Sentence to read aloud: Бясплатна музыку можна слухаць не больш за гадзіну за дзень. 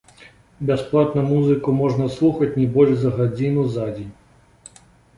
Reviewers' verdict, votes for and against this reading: accepted, 2, 1